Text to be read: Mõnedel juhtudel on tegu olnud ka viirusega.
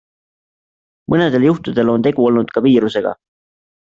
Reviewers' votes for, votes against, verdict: 2, 0, accepted